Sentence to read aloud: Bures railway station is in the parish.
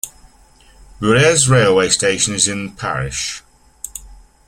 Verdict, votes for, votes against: accepted, 2, 1